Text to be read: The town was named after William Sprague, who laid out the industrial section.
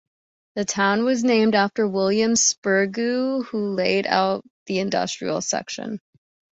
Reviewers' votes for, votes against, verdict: 0, 2, rejected